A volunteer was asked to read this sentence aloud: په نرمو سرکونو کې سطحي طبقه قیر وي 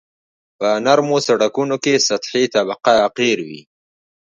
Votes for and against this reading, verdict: 3, 1, accepted